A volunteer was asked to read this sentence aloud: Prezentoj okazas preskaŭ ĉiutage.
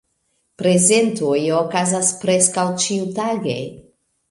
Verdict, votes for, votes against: accepted, 2, 0